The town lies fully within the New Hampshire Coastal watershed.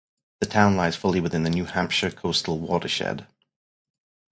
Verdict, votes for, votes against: rejected, 2, 2